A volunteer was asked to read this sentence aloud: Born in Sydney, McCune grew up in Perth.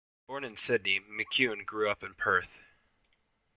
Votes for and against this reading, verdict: 2, 1, accepted